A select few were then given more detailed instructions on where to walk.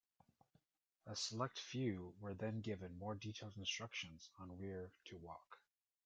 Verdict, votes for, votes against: rejected, 1, 2